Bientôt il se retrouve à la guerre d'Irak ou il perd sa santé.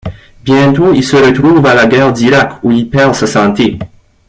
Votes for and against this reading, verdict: 2, 0, accepted